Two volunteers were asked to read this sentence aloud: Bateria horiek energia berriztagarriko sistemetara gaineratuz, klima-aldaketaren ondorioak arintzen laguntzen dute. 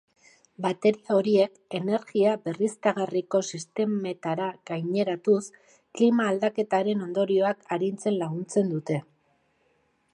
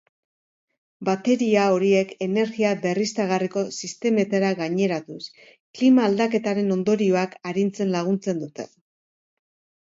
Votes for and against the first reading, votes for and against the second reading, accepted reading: 1, 2, 3, 1, second